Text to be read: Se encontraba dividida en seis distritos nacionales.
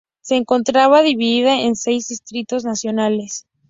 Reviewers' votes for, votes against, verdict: 4, 0, accepted